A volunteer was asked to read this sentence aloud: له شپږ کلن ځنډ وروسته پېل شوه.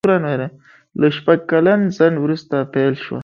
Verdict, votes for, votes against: accepted, 2, 1